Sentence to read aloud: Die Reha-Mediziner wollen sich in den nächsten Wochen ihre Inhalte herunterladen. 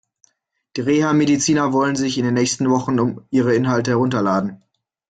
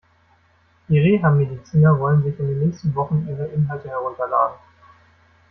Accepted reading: second